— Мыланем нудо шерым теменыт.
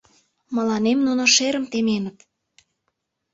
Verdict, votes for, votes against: rejected, 1, 2